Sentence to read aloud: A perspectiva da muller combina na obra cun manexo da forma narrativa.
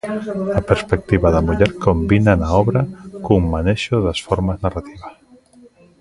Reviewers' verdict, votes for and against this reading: rejected, 0, 2